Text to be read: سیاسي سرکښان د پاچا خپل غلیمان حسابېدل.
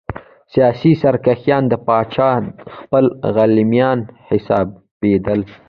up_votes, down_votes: 2, 0